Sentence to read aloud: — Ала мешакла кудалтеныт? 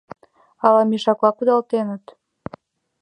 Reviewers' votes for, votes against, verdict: 2, 0, accepted